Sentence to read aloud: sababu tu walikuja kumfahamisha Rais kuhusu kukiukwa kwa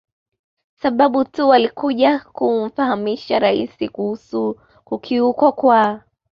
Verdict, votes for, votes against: accepted, 2, 0